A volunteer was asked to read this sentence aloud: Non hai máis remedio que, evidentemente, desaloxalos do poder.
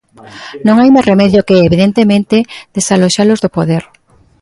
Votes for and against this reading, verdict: 2, 0, accepted